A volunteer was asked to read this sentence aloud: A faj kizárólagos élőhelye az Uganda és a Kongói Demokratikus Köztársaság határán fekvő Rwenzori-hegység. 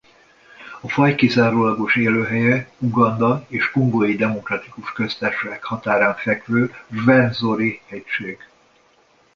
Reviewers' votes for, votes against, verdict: 0, 2, rejected